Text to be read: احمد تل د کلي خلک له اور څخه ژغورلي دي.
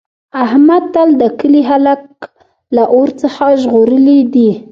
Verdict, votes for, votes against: rejected, 1, 2